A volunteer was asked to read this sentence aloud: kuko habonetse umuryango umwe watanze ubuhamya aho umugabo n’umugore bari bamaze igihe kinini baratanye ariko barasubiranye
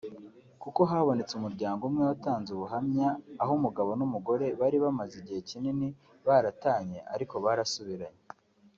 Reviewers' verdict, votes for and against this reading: accepted, 2, 0